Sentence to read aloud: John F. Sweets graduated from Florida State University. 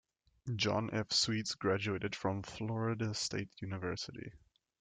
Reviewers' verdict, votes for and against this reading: accepted, 2, 0